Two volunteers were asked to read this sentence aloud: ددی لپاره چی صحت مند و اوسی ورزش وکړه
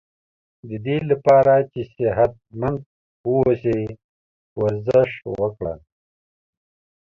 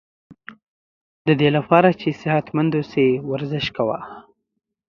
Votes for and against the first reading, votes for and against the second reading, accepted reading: 2, 0, 1, 2, first